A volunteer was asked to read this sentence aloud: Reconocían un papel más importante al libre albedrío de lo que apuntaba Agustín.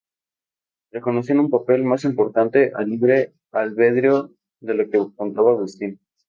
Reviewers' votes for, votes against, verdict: 2, 2, rejected